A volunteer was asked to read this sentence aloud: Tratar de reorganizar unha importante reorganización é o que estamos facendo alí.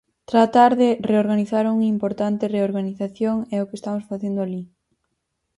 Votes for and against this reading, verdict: 2, 4, rejected